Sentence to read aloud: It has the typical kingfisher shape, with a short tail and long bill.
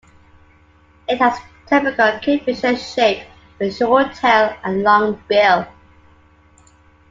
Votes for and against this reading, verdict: 2, 1, accepted